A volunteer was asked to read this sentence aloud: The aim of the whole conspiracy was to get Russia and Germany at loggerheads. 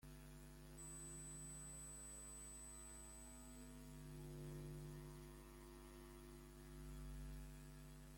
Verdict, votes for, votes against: rejected, 0, 2